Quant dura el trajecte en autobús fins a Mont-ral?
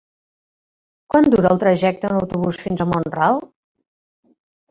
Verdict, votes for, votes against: rejected, 1, 2